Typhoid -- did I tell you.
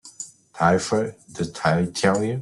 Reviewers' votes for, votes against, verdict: 0, 2, rejected